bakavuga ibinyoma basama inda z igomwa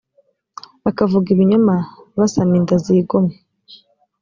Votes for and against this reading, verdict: 2, 0, accepted